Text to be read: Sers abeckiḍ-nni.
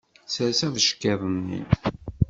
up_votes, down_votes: 2, 0